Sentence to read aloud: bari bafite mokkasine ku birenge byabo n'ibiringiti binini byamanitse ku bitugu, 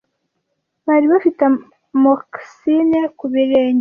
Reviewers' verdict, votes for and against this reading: rejected, 0, 2